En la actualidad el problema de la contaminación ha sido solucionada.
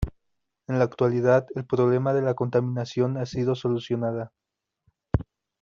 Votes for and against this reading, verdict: 2, 0, accepted